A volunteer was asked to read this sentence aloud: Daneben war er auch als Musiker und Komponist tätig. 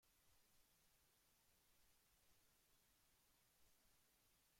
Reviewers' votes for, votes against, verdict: 0, 2, rejected